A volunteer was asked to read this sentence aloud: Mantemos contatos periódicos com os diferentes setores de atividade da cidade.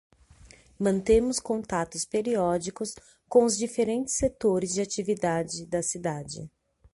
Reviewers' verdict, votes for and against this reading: rejected, 3, 3